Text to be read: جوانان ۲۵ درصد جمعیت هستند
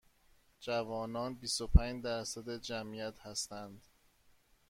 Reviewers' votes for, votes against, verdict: 0, 2, rejected